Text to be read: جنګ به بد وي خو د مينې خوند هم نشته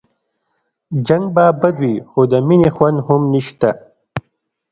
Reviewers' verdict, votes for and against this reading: accepted, 2, 0